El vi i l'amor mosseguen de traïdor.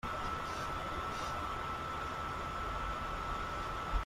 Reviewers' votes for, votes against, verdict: 0, 2, rejected